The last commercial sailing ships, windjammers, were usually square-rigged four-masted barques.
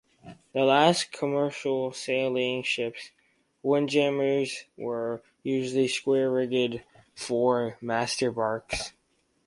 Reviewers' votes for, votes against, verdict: 2, 2, rejected